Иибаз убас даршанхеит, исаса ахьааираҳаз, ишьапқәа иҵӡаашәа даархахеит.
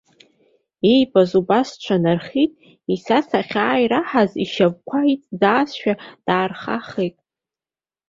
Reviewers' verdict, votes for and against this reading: rejected, 1, 2